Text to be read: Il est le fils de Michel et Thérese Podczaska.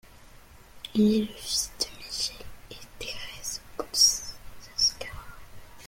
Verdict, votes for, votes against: rejected, 0, 2